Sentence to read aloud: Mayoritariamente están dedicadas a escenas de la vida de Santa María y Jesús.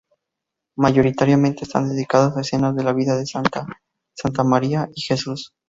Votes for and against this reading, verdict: 0, 2, rejected